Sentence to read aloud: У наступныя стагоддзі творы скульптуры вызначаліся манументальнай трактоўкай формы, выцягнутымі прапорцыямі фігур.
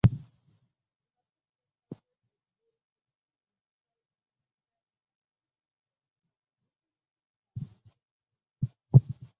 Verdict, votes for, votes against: rejected, 0, 2